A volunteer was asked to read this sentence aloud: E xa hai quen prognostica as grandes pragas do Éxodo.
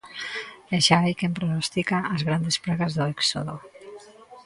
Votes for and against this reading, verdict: 0, 2, rejected